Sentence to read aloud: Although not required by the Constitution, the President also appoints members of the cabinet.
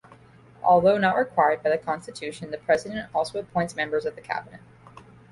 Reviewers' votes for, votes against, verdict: 2, 0, accepted